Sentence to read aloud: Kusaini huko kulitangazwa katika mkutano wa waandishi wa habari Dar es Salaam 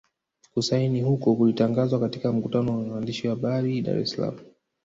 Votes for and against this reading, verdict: 0, 2, rejected